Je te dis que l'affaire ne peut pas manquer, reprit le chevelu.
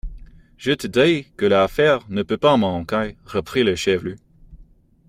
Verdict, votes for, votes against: accepted, 2, 0